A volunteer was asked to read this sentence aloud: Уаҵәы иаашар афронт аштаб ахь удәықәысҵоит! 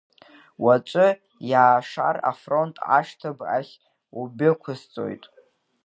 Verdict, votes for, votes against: rejected, 1, 2